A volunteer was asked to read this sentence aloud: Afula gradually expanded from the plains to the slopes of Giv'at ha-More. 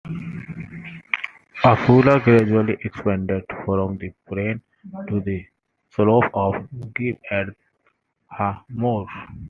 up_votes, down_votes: 1, 2